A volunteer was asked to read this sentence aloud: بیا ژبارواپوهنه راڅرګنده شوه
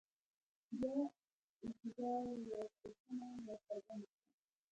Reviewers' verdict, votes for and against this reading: rejected, 0, 2